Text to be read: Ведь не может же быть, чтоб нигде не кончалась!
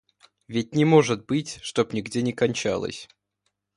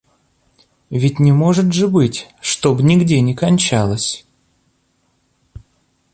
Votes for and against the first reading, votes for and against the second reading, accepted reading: 1, 2, 2, 1, second